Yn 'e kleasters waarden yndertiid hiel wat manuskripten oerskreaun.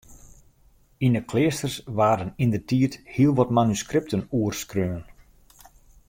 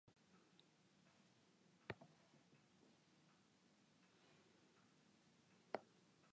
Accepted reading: first